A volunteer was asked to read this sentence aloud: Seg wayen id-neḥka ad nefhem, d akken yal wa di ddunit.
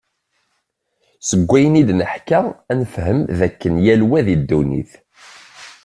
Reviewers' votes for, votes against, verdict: 2, 0, accepted